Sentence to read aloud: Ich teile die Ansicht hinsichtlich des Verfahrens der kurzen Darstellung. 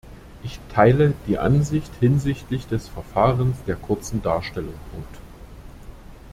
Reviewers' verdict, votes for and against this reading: rejected, 0, 2